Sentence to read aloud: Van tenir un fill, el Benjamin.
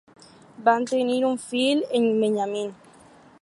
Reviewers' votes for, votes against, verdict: 0, 2, rejected